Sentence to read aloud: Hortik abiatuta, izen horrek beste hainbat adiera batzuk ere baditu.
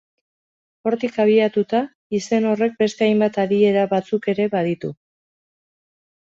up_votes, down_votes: 2, 0